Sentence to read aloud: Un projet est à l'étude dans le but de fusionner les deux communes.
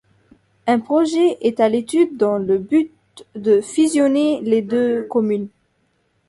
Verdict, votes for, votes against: accepted, 2, 0